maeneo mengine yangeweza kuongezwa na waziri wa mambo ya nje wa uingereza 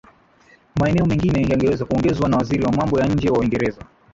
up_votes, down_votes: 0, 2